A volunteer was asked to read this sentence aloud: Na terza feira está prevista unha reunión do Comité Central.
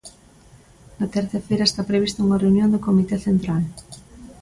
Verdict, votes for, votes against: accepted, 2, 0